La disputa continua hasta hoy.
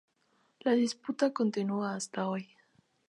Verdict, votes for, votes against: accepted, 2, 0